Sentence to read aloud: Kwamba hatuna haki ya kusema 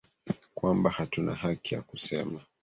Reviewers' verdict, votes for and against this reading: rejected, 1, 2